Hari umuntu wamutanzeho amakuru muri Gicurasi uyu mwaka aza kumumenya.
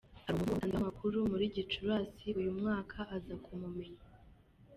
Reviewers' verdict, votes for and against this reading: rejected, 0, 2